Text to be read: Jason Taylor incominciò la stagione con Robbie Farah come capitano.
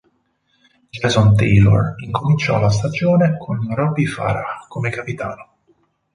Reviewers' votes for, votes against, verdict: 2, 0, accepted